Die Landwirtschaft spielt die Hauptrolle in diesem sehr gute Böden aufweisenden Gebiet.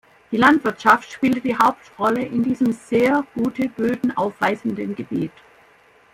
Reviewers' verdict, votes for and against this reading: rejected, 1, 2